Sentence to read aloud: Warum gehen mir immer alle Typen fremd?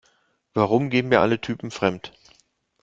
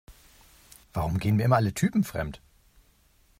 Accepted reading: second